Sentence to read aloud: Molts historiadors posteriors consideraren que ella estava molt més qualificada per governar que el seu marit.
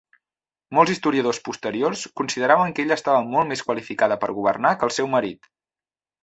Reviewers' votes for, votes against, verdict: 1, 2, rejected